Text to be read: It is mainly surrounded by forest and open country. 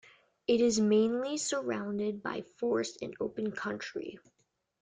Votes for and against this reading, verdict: 2, 0, accepted